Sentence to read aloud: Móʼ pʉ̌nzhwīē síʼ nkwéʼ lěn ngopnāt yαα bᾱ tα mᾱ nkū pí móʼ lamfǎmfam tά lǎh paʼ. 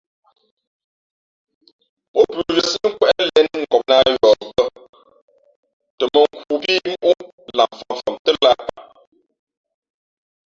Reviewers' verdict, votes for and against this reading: rejected, 2, 3